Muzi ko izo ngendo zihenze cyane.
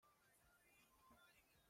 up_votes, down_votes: 0, 2